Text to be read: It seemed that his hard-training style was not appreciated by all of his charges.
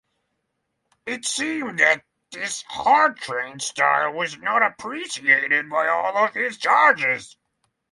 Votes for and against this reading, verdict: 3, 0, accepted